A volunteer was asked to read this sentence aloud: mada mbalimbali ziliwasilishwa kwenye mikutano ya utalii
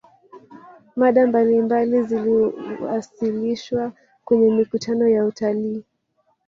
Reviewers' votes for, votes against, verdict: 2, 1, accepted